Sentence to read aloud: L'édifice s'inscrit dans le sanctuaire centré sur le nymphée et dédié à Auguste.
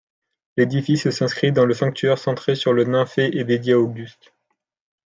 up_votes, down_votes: 0, 2